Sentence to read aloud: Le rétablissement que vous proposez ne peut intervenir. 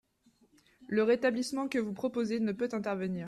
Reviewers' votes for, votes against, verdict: 2, 0, accepted